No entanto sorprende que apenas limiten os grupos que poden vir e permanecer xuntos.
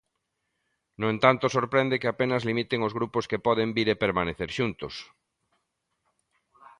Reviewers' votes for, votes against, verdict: 2, 0, accepted